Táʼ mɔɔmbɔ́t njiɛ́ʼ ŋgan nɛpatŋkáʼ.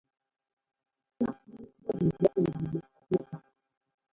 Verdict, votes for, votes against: rejected, 0, 2